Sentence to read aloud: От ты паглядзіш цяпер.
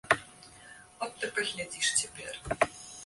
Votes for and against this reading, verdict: 1, 2, rejected